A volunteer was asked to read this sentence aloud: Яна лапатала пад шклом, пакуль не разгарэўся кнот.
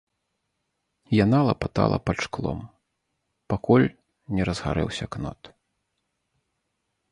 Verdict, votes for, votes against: accepted, 2, 0